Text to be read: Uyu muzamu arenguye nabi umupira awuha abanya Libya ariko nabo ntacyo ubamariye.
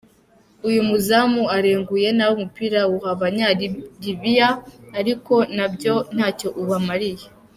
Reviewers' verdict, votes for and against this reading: rejected, 1, 2